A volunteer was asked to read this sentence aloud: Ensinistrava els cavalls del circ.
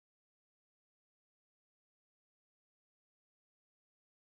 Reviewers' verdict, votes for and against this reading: rejected, 0, 2